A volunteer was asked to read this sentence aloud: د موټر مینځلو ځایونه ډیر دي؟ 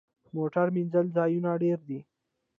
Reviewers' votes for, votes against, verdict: 1, 2, rejected